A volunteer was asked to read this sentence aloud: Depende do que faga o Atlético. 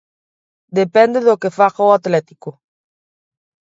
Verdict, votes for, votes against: accepted, 2, 0